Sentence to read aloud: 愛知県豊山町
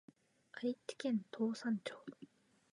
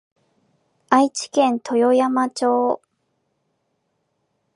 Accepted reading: second